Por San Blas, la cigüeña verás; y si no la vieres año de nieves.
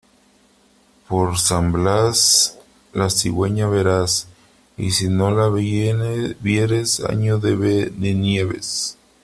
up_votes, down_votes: 1, 3